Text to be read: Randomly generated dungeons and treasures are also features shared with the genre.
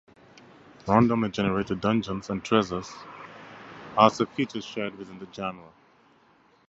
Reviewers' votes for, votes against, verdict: 4, 2, accepted